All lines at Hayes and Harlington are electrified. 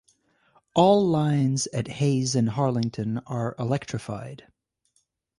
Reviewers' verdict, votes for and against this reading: accepted, 2, 0